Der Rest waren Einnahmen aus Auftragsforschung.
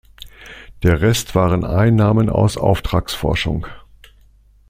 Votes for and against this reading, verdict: 2, 0, accepted